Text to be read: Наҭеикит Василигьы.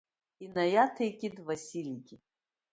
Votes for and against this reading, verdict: 0, 2, rejected